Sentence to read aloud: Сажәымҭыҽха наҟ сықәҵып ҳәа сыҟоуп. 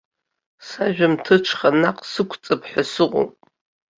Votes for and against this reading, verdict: 2, 0, accepted